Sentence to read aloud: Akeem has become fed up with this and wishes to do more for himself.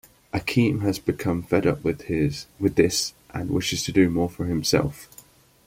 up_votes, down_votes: 0, 2